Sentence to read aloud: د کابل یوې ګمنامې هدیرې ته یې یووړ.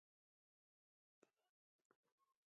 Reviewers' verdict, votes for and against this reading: rejected, 2, 3